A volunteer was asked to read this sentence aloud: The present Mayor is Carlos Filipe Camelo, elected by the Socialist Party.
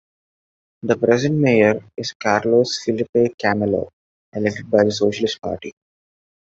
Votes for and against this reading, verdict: 2, 0, accepted